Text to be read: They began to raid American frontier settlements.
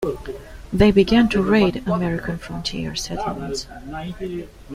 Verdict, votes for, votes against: accepted, 2, 0